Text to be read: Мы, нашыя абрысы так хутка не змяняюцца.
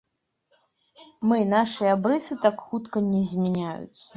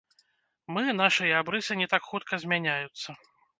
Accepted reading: first